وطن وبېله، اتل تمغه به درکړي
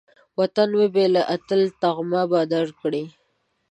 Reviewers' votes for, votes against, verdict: 2, 0, accepted